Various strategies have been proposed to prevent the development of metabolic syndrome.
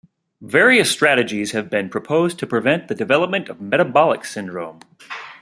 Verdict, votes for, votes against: rejected, 0, 2